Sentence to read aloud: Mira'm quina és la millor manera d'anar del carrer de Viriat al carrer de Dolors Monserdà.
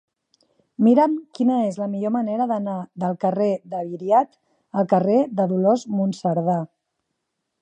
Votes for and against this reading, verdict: 2, 0, accepted